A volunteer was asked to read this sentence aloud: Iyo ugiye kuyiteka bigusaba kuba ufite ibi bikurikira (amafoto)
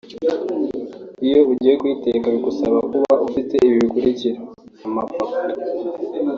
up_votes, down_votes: 2, 1